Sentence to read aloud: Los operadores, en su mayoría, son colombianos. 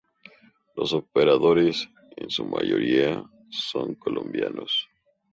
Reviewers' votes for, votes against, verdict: 2, 0, accepted